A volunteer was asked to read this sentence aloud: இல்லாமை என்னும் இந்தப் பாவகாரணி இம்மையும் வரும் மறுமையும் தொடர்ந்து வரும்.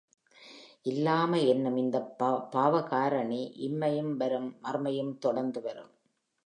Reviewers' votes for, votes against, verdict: 3, 0, accepted